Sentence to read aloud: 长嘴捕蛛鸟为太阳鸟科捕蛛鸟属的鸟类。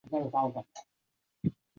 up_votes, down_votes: 1, 2